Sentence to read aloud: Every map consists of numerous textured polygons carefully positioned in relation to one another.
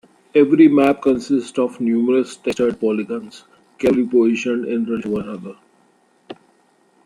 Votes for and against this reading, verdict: 0, 2, rejected